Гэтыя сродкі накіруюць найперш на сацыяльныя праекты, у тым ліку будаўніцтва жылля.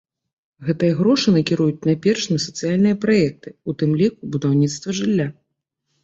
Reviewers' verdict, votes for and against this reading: rejected, 0, 2